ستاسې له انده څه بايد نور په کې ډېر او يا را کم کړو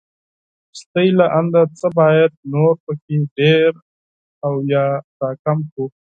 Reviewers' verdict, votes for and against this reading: rejected, 2, 4